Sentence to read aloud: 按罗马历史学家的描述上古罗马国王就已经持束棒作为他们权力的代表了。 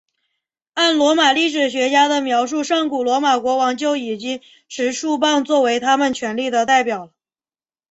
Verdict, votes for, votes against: accepted, 2, 0